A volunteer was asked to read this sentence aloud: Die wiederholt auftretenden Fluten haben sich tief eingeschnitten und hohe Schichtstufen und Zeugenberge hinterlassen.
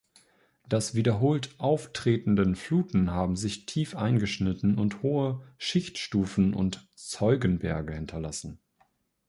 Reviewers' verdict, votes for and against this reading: rejected, 0, 2